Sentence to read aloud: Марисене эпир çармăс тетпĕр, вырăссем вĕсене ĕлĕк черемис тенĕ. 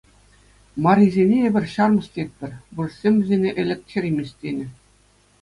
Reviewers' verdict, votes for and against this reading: accepted, 2, 0